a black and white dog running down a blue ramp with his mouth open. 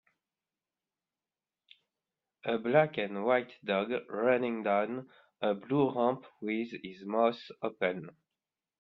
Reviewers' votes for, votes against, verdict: 0, 2, rejected